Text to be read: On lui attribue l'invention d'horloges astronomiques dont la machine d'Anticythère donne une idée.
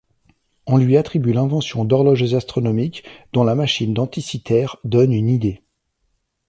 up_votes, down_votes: 2, 0